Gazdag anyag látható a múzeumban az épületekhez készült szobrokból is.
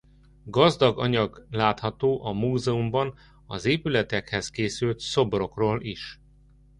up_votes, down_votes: 0, 2